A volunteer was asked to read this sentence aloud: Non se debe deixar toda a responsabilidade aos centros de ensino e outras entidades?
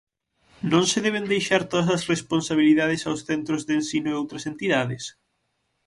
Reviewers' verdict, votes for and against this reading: rejected, 3, 6